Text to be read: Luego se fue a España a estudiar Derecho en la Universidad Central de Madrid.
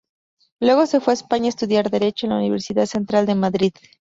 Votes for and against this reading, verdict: 2, 0, accepted